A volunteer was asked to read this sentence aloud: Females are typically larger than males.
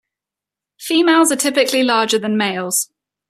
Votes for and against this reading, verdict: 2, 0, accepted